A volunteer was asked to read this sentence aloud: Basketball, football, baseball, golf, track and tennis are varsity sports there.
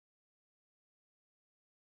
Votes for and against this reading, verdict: 0, 2, rejected